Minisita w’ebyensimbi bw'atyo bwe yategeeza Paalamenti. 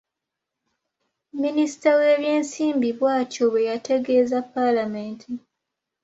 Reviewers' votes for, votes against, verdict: 1, 2, rejected